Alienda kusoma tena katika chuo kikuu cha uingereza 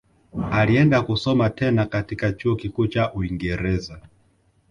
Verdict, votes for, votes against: accepted, 2, 0